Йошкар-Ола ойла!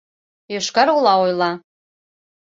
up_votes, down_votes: 2, 0